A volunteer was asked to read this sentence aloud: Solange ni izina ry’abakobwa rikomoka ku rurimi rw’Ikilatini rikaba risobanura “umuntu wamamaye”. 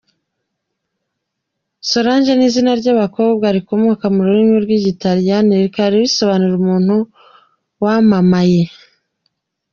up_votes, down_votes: 2, 0